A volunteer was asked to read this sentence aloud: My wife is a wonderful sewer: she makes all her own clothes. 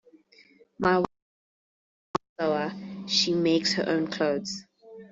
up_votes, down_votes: 1, 2